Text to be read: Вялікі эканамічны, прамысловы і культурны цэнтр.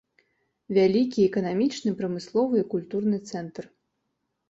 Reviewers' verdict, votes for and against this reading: accepted, 2, 0